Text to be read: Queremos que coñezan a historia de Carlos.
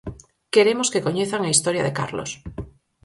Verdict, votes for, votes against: accepted, 4, 0